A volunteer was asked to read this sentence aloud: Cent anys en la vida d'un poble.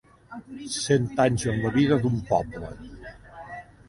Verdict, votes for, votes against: accepted, 3, 0